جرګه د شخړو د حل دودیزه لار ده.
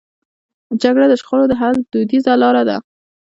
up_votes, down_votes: 1, 2